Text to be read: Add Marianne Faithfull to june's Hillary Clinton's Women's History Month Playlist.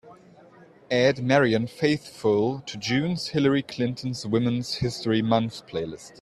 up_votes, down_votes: 2, 0